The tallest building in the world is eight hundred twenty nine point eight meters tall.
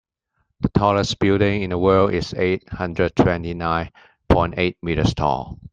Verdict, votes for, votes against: accepted, 2, 0